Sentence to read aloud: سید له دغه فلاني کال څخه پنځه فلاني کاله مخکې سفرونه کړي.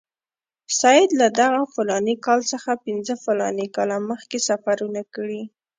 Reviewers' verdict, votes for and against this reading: accepted, 2, 0